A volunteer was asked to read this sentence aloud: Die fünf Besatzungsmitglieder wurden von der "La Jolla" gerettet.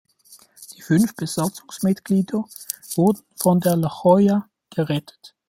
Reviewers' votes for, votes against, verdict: 2, 0, accepted